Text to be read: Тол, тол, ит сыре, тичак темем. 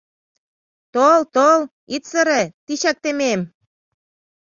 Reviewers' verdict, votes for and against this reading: accepted, 2, 0